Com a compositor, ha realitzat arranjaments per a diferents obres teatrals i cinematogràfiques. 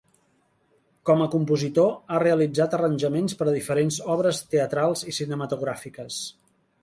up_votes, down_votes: 4, 0